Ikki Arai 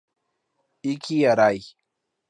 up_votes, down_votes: 2, 0